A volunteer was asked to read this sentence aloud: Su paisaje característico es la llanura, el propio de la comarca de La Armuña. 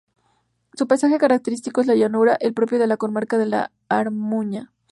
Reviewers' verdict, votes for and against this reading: accepted, 2, 0